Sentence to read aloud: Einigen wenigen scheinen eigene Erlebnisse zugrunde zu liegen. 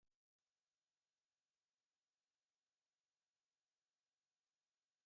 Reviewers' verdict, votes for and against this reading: rejected, 0, 2